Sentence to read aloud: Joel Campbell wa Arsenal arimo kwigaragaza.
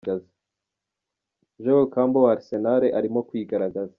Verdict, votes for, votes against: rejected, 1, 2